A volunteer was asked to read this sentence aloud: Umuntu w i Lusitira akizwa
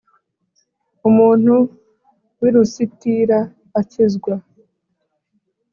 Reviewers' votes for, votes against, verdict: 2, 0, accepted